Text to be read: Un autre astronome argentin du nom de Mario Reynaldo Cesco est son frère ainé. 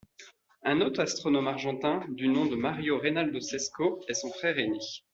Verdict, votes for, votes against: accepted, 2, 0